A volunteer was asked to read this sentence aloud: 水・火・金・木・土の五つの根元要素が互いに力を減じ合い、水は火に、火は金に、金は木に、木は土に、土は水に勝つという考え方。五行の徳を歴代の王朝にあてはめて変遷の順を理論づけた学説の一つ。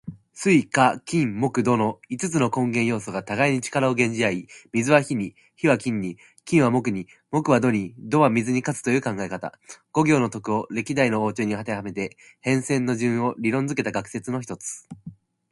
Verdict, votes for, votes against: accepted, 2, 0